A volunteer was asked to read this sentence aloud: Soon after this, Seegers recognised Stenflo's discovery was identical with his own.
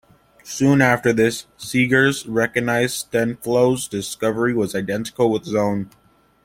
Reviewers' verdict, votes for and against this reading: accepted, 2, 0